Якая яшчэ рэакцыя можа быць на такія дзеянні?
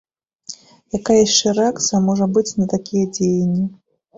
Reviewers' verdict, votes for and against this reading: accepted, 2, 0